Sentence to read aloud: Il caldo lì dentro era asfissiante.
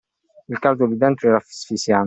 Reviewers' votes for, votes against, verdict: 0, 2, rejected